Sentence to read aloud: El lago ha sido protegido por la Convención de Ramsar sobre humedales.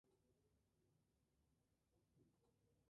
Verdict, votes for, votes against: rejected, 0, 2